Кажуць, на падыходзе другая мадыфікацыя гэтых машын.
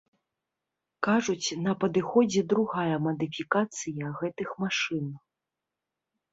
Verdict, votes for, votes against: accepted, 2, 0